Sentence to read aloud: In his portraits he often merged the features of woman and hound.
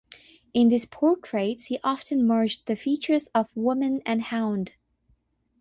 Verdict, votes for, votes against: accepted, 6, 0